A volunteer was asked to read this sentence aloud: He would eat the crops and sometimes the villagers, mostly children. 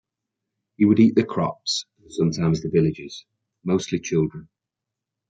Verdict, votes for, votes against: accepted, 2, 0